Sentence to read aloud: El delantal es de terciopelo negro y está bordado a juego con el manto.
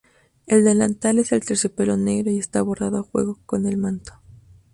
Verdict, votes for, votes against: rejected, 0, 2